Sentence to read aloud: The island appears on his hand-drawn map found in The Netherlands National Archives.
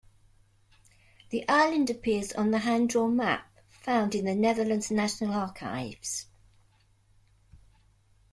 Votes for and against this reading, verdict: 1, 2, rejected